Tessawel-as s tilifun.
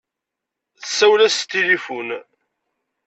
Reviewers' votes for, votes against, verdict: 2, 0, accepted